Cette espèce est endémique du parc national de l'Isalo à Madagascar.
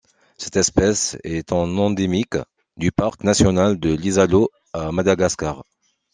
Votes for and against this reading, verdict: 1, 2, rejected